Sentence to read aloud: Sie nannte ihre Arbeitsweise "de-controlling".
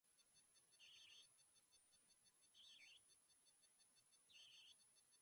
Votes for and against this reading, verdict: 0, 2, rejected